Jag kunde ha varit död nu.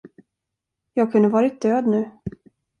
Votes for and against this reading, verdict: 1, 2, rejected